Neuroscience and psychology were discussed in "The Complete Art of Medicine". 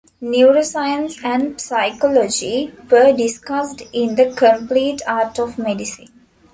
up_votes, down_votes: 2, 1